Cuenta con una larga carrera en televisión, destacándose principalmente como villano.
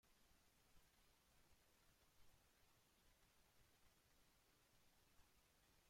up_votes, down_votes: 0, 2